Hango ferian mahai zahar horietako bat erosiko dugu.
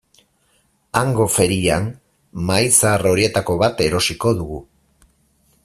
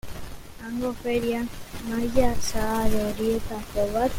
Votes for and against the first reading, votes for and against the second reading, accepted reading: 4, 0, 0, 2, first